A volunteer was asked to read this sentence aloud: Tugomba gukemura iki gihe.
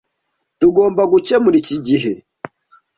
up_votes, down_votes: 2, 0